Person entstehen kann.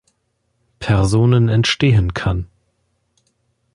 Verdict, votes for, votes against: rejected, 0, 2